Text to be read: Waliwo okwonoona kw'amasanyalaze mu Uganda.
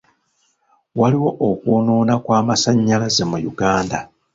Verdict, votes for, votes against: accepted, 3, 1